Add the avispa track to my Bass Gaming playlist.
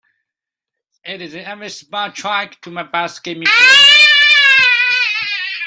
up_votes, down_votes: 0, 2